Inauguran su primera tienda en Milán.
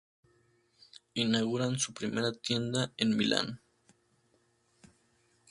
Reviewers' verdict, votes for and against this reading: accepted, 2, 0